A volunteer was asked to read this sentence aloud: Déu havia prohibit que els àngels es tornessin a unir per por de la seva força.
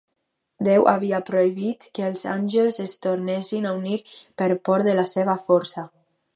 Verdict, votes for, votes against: accepted, 4, 0